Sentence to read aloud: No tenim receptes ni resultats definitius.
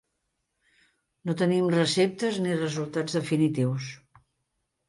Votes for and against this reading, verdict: 1, 2, rejected